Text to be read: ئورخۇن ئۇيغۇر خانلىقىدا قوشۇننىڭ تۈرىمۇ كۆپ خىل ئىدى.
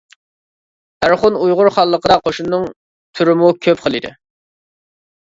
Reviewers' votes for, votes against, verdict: 2, 0, accepted